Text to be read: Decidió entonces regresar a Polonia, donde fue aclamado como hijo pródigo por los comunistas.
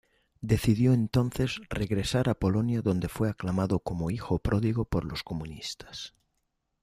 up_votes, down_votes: 2, 0